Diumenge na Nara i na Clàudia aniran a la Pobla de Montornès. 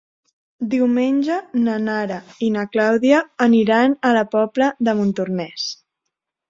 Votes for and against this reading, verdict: 3, 0, accepted